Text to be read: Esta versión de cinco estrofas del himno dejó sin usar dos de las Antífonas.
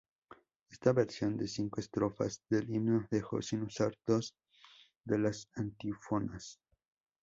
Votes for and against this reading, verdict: 0, 2, rejected